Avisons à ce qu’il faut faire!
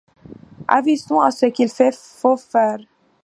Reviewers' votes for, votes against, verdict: 0, 2, rejected